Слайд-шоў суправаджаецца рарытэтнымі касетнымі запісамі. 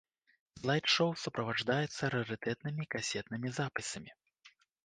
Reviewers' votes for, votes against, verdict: 1, 2, rejected